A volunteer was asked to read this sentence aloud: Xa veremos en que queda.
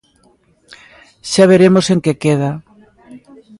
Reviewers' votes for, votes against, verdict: 2, 0, accepted